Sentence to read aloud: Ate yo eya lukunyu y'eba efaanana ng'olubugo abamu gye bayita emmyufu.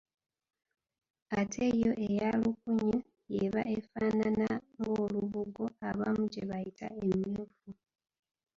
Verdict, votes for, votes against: rejected, 1, 2